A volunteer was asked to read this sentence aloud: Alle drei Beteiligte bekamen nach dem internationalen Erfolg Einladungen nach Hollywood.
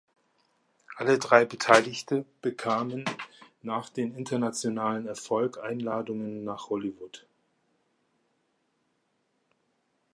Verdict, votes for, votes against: accepted, 2, 1